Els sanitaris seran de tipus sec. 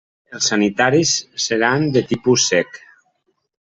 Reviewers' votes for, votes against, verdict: 3, 0, accepted